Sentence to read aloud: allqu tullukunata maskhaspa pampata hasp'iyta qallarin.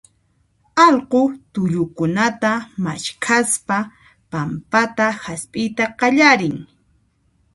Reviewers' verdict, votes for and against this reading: accepted, 2, 0